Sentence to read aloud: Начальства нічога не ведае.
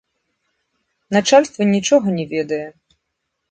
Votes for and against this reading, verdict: 1, 3, rejected